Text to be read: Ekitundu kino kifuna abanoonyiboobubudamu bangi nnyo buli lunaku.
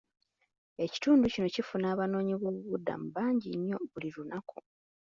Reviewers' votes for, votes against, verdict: 2, 0, accepted